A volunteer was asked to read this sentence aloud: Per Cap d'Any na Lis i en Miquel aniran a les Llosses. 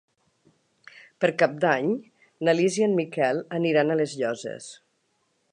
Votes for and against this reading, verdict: 3, 0, accepted